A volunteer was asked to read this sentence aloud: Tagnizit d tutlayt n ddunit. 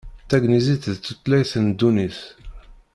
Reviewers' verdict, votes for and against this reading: rejected, 1, 2